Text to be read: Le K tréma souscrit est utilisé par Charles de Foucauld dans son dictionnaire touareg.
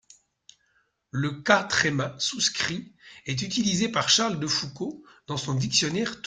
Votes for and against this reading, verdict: 0, 2, rejected